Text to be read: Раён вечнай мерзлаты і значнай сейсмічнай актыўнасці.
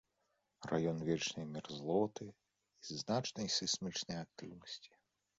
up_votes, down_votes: 0, 2